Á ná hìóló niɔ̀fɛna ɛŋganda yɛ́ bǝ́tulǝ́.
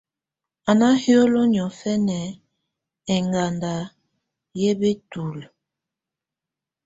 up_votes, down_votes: 2, 0